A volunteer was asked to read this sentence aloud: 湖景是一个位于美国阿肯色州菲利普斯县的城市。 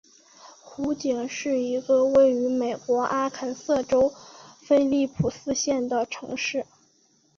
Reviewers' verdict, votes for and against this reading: accepted, 4, 0